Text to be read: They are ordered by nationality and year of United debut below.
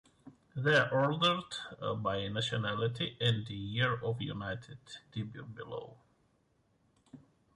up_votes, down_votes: 2, 0